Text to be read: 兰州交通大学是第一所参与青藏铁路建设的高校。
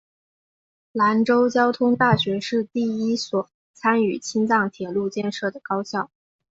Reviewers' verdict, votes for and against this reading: accepted, 2, 0